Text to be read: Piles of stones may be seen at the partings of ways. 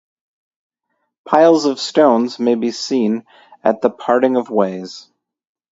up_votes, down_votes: 2, 2